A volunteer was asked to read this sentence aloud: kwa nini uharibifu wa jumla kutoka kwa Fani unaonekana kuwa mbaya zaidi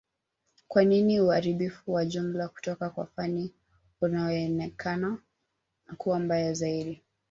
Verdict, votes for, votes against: accepted, 2, 0